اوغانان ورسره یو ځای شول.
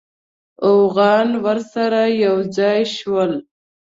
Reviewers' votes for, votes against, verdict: 1, 2, rejected